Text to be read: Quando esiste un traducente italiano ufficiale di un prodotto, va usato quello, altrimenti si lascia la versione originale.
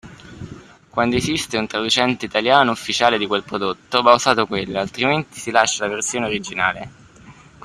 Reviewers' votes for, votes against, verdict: 1, 2, rejected